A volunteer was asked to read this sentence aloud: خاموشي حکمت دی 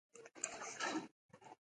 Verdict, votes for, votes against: rejected, 0, 2